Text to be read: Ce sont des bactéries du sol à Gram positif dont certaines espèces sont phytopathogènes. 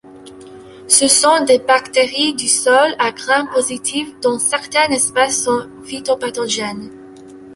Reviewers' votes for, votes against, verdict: 2, 0, accepted